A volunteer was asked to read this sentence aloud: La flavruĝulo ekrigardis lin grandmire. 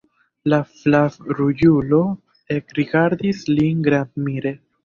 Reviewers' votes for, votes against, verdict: 1, 2, rejected